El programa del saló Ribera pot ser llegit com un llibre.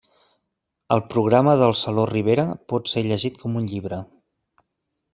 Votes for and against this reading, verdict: 3, 0, accepted